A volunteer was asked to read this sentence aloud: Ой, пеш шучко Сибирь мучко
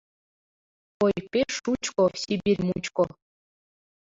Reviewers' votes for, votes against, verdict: 2, 0, accepted